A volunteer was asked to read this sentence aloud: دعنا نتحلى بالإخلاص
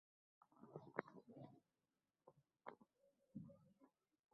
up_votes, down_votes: 0, 3